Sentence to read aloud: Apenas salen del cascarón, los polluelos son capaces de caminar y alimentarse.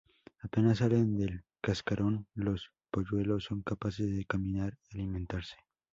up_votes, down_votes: 2, 0